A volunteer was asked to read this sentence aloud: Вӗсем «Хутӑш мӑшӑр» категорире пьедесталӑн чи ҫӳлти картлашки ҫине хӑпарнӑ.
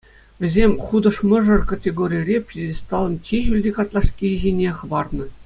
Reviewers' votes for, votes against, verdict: 2, 0, accepted